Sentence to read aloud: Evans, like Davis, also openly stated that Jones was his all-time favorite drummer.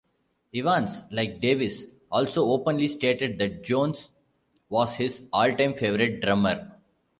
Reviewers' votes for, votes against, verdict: 1, 2, rejected